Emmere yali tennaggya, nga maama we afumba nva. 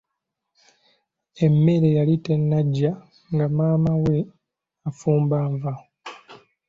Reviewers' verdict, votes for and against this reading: accepted, 3, 1